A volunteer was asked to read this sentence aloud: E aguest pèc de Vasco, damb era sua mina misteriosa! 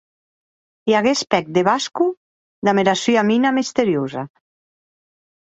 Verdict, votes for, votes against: accepted, 2, 0